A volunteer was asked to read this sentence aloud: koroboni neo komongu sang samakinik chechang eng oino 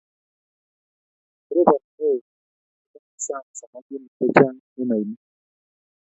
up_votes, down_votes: 1, 2